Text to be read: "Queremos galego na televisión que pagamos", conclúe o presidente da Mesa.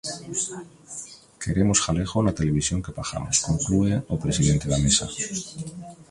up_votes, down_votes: 2, 1